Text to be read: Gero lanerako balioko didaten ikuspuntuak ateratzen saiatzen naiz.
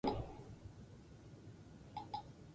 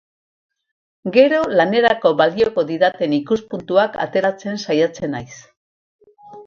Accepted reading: second